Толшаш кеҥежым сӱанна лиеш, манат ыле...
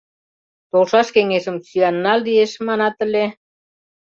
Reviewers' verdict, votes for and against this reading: accepted, 2, 0